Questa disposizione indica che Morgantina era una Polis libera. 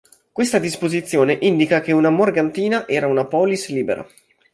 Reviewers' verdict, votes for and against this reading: rejected, 1, 2